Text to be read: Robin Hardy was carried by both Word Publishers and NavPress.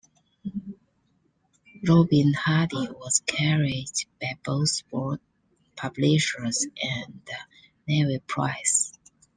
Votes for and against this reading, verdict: 2, 1, accepted